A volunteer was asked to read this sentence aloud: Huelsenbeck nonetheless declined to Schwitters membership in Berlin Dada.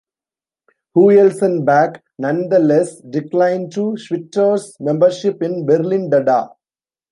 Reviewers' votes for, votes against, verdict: 1, 2, rejected